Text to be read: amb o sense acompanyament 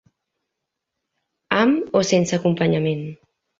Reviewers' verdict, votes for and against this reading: accepted, 2, 0